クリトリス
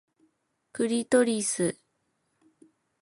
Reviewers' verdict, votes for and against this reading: accepted, 2, 1